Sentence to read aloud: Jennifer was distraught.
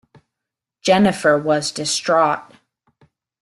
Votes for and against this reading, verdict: 2, 0, accepted